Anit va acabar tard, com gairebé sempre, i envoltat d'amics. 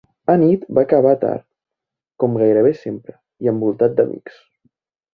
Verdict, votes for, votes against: accepted, 3, 0